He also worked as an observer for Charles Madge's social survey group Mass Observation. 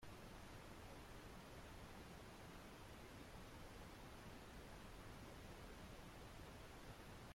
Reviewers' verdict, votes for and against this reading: rejected, 0, 2